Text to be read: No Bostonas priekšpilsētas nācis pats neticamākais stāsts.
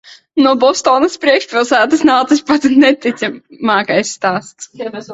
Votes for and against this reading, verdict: 1, 2, rejected